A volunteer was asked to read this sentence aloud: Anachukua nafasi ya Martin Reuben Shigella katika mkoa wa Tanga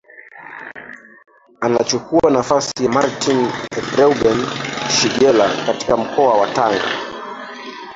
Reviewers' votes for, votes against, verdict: 0, 2, rejected